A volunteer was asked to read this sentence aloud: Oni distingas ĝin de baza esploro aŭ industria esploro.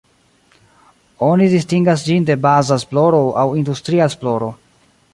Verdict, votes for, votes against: rejected, 0, 2